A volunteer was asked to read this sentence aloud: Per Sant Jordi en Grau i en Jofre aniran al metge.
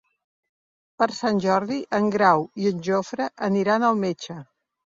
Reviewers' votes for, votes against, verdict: 3, 0, accepted